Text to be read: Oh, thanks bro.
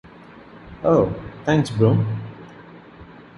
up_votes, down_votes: 2, 0